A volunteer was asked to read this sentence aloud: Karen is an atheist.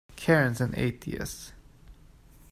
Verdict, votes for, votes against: rejected, 1, 2